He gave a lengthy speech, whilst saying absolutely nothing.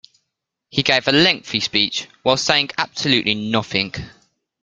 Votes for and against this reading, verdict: 0, 2, rejected